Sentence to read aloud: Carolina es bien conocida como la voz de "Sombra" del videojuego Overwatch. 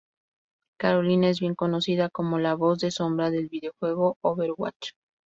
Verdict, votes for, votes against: accepted, 2, 0